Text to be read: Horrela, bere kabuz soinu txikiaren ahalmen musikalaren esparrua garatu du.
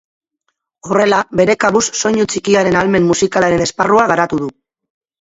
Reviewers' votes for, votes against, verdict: 2, 0, accepted